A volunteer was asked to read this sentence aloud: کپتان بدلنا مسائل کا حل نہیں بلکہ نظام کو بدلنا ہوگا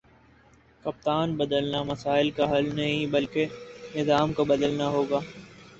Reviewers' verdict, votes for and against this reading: rejected, 0, 2